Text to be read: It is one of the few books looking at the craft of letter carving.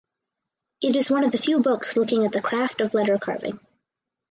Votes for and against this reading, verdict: 4, 0, accepted